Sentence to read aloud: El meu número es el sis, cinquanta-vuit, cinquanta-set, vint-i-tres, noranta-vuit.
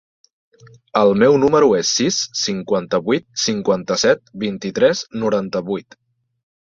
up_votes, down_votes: 2, 1